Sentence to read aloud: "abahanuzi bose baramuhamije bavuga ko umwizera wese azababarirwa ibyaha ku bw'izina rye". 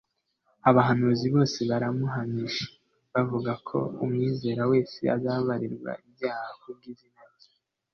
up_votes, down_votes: 2, 0